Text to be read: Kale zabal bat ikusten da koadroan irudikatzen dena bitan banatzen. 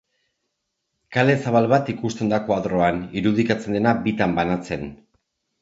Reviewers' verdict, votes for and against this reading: accepted, 2, 0